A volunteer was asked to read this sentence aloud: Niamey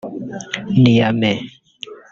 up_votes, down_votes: 1, 2